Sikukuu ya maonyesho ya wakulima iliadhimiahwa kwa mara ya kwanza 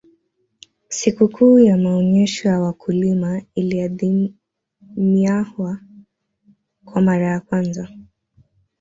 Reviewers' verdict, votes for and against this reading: rejected, 1, 2